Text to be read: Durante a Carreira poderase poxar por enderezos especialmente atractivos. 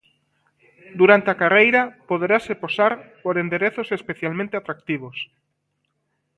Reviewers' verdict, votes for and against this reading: rejected, 1, 2